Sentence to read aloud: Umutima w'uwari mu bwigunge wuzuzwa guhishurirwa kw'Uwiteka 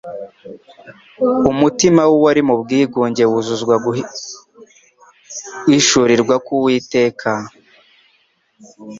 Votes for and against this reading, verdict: 0, 2, rejected